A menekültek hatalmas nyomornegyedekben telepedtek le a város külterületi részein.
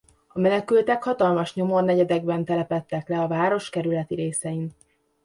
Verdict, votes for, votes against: rejected, 0, 2